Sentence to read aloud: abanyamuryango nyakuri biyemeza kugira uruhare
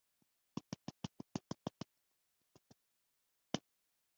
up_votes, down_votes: 1, 2